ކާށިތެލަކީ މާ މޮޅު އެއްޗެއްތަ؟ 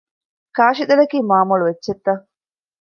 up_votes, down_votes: 2, 0